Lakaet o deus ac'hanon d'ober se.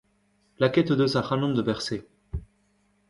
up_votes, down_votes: 1, 2